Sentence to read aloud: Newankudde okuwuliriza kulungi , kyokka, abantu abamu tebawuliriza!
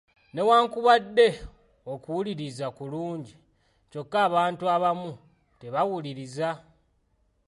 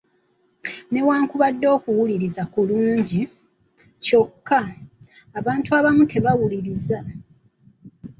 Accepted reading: second